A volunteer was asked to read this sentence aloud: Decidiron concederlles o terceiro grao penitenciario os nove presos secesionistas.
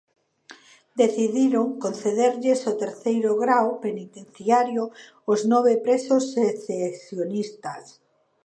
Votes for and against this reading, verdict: 1, 2, rejected